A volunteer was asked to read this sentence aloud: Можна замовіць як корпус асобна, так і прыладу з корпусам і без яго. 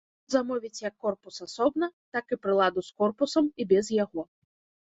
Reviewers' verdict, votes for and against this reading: rejected, 0, 2